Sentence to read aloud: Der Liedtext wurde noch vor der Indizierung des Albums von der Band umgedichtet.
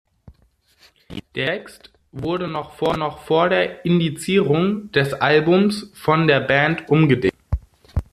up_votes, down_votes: 0, 2